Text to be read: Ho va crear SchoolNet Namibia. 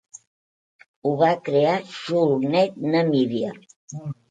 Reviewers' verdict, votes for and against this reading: rejected, 1, 2